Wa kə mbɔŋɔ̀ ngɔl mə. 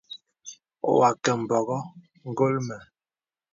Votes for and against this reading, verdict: 2, 0, accepted